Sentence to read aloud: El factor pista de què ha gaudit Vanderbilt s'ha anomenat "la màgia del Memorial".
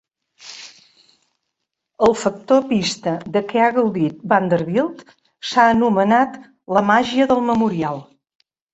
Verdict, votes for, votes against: accepted, 3, 0